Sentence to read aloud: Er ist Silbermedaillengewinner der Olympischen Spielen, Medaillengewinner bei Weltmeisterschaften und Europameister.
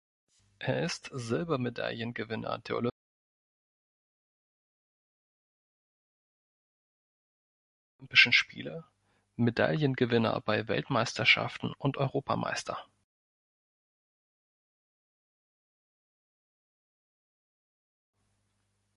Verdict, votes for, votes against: rejected, 0, 3